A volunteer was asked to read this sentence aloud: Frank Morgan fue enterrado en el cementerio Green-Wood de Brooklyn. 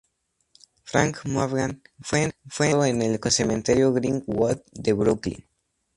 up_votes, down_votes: 0, 2